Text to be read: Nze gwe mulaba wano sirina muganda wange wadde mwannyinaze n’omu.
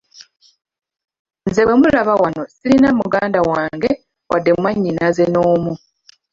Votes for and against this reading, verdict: 2, 1, accepted